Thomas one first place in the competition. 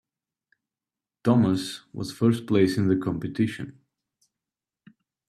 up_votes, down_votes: 0, 2